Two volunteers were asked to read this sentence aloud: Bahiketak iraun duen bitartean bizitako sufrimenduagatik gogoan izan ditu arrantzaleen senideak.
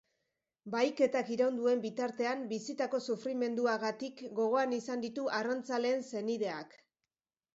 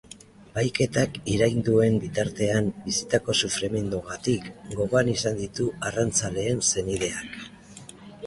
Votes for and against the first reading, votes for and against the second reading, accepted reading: 2, 0, 1, 2, first